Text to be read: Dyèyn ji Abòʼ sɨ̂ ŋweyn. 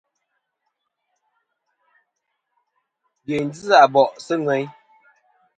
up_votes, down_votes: 3, 0